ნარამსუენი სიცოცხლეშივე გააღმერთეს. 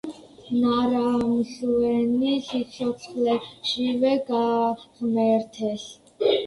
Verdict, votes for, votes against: accepted, 2, 1